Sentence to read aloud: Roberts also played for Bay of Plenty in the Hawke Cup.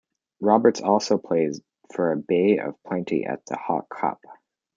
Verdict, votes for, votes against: rejected, 0, 2